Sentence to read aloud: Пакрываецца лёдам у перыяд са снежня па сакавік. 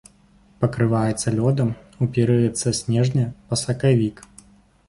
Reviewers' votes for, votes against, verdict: 2, 0, accepted